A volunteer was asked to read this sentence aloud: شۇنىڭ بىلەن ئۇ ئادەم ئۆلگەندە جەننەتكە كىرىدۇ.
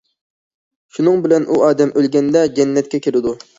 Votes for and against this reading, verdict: 2, 0, accepted